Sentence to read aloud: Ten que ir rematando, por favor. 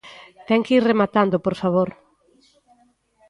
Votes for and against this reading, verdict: 2, 0, accepted